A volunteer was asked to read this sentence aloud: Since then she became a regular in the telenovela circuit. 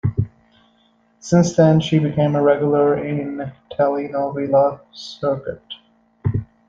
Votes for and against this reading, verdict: 2, 1, accepted